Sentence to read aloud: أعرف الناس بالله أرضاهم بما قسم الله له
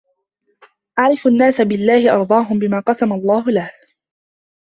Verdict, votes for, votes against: rejected, 0, 2